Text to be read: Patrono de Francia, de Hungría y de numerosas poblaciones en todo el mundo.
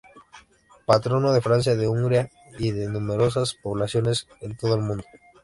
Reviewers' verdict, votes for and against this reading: rejected, 0, 2